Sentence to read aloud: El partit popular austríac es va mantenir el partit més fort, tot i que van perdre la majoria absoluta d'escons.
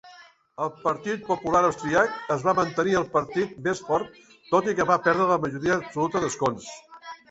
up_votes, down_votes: 0, 2